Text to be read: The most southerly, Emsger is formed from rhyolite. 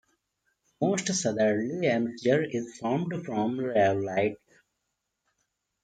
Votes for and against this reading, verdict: 2, 1, accepted